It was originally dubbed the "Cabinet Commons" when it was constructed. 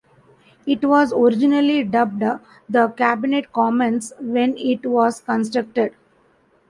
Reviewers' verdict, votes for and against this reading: accepted, 2, 0